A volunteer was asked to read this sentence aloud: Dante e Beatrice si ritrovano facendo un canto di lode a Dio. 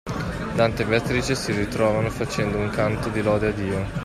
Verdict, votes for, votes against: accepted, 2, 1